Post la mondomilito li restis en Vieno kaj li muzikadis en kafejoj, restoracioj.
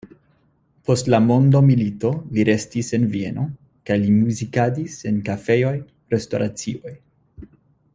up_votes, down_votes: 2, 0